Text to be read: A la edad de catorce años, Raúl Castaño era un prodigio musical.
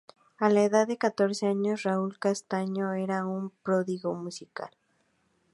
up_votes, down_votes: 4, 2